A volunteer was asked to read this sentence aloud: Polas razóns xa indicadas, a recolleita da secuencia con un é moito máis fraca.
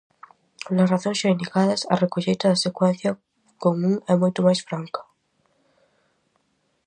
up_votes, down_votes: 0, 4